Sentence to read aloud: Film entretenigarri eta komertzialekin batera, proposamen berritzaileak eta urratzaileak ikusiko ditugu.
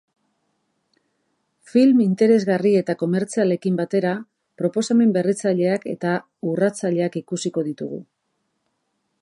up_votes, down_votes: 0, 3